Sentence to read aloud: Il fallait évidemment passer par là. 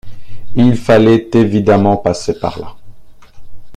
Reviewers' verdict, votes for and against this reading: accepted, 2, 0